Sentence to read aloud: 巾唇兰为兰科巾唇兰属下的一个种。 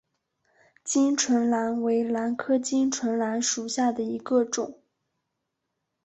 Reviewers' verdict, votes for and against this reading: accepted, 4, 0